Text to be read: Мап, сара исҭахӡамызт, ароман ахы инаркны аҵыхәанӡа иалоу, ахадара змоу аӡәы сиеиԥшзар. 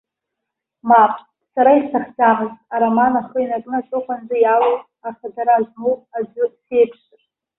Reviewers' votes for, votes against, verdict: 1, 2, rejected